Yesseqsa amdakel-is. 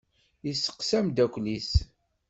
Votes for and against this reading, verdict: 2, 0, accepted